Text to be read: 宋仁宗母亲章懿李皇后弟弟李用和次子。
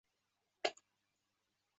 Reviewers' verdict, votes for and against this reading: rejected, 0, 2